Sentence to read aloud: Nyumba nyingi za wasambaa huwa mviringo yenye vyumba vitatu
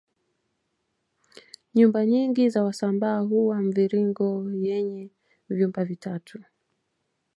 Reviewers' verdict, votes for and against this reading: accepted, 2, 0